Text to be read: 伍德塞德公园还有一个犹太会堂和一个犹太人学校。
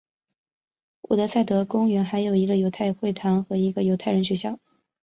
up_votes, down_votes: 6, 0